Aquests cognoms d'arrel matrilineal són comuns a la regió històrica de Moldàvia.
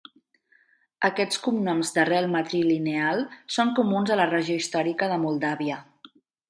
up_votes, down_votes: 2, 0